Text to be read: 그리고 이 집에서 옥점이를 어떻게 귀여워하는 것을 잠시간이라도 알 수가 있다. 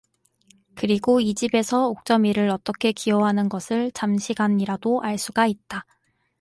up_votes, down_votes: 4, 0